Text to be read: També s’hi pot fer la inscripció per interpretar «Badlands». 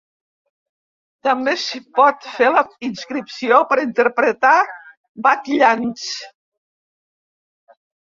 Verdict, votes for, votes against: rejected, 1, 2